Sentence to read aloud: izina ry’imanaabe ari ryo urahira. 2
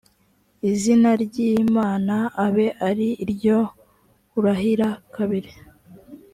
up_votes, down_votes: 0, 2